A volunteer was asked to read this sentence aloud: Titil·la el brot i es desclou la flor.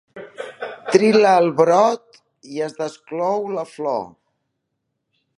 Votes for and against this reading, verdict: 1, 2, rejected